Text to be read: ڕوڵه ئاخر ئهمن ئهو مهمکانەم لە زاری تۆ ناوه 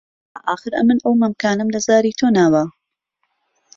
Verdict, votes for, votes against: rejected, 0, 2